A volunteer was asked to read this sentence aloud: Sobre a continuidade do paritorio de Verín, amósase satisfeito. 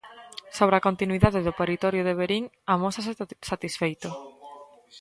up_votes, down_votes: 0, 2